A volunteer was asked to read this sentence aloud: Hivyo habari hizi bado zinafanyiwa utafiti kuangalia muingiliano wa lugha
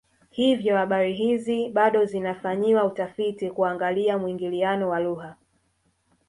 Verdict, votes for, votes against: rejected, 0, 2